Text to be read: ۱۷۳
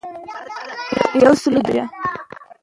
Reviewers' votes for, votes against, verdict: 0, 2, rejected